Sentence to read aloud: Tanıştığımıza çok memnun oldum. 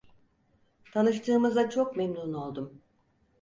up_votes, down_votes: 4, 0